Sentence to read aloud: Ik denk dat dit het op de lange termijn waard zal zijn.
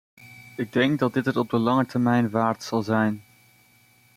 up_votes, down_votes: 2, 0